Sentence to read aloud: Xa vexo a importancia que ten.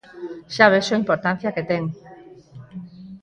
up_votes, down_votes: 4, 0